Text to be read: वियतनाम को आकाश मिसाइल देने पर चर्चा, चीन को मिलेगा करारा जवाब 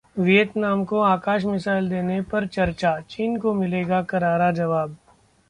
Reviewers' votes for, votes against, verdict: 2, 0, accepted